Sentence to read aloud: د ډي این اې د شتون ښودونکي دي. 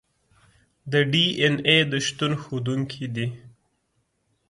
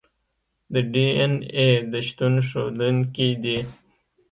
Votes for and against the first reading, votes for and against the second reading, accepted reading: 2, 0, 1, 2, first